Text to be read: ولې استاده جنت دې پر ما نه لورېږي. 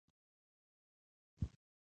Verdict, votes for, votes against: rejected, 1, 2